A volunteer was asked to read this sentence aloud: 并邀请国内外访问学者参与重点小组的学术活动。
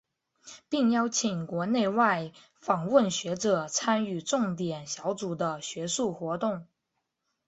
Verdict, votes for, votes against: accepted, 2, 0